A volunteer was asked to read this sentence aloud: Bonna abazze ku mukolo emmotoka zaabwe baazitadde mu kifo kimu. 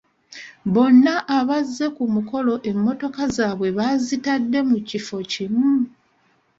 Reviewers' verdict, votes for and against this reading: accepted, 2, 0